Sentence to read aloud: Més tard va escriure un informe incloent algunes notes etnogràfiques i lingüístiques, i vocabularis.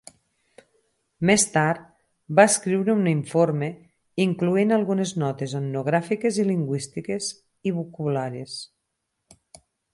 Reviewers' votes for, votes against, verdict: 2, 4, rejected